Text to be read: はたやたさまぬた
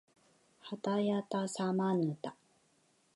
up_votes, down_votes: 4, 1